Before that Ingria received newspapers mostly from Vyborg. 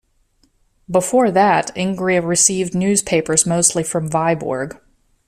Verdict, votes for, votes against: accepted, 2, 0